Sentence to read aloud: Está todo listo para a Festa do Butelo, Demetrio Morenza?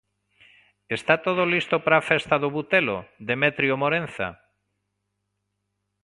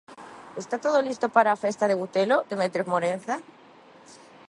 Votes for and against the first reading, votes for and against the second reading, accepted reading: 2, 1, 0, 2, first